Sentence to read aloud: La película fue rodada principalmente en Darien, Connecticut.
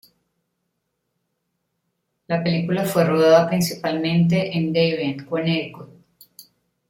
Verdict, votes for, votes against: rejected, 1, 2